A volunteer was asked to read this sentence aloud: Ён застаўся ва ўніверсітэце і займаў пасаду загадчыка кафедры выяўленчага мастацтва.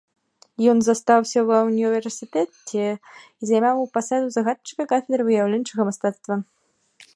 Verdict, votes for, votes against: accepted, 2, 1